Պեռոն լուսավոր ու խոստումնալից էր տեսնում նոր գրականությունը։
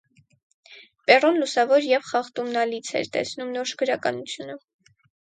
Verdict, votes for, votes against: rejected, 2, 4